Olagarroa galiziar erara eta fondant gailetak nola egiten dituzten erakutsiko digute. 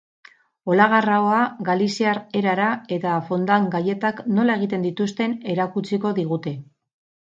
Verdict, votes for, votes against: rejected, 2, 2